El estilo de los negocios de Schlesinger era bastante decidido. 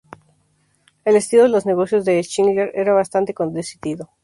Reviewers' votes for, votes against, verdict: 0, 2, rejected